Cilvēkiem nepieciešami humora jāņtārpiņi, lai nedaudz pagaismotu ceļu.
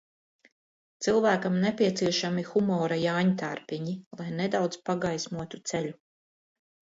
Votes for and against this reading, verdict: 0, 2, rejected